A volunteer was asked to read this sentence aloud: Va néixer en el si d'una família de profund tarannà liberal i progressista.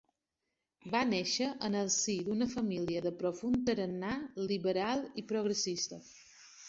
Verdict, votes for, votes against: rejected, 0, 2